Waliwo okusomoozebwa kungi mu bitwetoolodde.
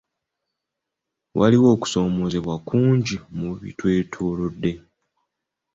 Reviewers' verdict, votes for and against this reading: accepted, 2, 0